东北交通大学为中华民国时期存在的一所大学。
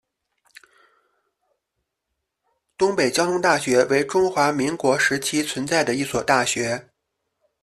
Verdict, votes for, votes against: accepted, 2, 0